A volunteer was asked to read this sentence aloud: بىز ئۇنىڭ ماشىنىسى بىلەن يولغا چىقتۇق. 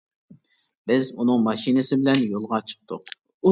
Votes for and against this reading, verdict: 2, 0, accepted